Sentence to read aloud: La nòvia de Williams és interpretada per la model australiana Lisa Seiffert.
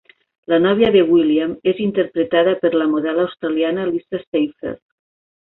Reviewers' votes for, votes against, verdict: 2, 1, accepted